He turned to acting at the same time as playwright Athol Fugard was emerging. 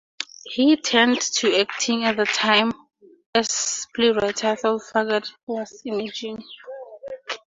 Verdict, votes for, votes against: rejected, 0, 2